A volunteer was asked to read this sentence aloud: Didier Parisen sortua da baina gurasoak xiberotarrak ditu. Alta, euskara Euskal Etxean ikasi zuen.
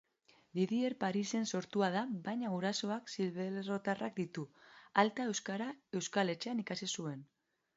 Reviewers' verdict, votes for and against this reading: accepted, 2, 0